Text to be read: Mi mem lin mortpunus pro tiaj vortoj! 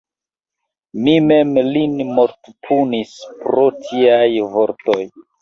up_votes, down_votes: 2, 3